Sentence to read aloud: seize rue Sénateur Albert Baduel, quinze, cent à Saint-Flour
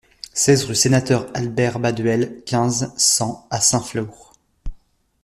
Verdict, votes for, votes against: accepted, 2, 0